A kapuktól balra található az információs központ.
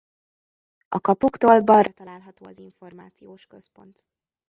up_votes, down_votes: 1, 2